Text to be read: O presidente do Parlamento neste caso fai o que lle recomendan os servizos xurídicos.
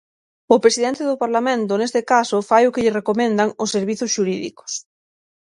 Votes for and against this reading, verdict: 9, 0, accepted